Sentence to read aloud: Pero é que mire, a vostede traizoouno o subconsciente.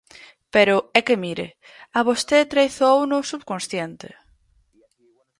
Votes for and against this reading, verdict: 2, 4, rejected